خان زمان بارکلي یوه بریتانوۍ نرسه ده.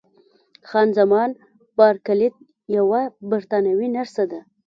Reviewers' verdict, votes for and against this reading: rejected, 1, 2